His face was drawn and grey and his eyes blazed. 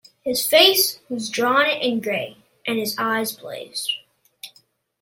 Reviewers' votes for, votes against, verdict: 1, 2, rejected